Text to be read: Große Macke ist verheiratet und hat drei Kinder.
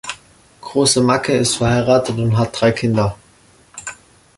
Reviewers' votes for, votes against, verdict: 2, 0, accepted